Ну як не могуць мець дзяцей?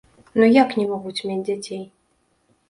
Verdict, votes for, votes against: rejected, 1, 2